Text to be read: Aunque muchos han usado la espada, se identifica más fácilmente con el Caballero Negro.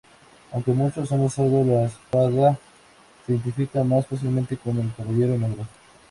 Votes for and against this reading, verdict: 0, 2, rejected